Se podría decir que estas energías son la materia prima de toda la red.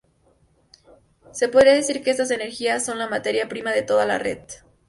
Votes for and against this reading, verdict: 4, 0, accepted